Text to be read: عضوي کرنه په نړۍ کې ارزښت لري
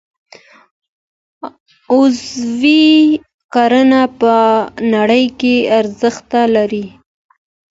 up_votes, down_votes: 1, 2